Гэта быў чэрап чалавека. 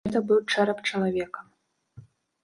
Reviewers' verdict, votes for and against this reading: rejected, 1, 2